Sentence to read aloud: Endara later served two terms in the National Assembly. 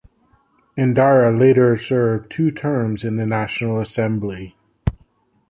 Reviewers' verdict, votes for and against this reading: accepted, 2, 0